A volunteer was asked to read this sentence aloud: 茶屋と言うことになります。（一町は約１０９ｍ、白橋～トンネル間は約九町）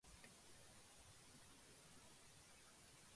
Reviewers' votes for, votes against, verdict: 0, 2, rejected